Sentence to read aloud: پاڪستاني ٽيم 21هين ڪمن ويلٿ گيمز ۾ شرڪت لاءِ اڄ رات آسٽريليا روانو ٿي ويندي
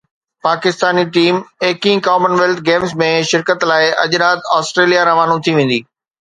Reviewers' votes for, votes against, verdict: 0, 2, rejected